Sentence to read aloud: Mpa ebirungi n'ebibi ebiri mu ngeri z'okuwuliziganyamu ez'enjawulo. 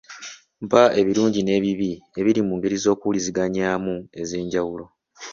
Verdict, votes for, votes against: accepted, 2, 0